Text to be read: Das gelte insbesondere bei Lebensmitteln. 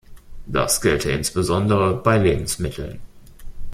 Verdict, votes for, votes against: rejected, 0, 2